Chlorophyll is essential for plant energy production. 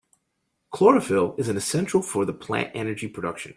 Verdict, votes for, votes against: rejected, 1, 2